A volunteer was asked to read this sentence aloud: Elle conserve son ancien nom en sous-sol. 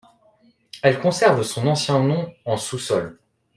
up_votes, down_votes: 2, 0